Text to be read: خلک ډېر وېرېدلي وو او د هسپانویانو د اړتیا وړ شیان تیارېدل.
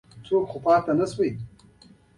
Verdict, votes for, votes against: accepted, 2, 1